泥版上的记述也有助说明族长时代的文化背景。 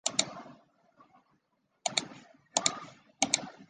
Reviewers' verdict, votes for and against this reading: rejected, 0, 2